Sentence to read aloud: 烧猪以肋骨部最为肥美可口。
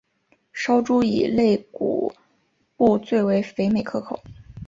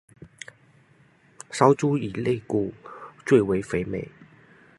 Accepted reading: first